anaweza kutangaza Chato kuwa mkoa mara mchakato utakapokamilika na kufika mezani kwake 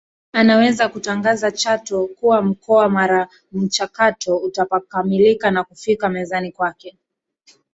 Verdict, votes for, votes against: rejected, 0, 2